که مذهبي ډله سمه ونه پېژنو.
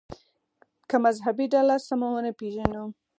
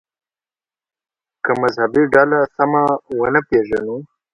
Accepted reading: second